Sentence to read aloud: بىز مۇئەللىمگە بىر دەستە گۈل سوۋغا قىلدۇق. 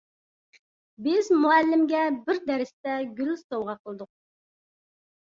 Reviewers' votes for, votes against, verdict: 1, 2, rejected